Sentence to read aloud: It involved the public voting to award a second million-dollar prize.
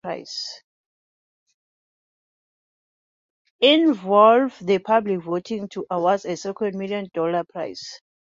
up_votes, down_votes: 0, 2